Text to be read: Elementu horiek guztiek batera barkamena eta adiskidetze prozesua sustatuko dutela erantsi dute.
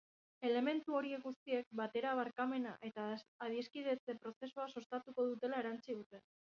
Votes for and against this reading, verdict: 0, 2, rejected